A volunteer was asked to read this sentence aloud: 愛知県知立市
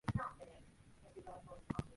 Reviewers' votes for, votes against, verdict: 0, 2, rejected